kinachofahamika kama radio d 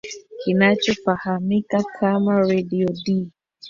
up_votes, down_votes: 1, 2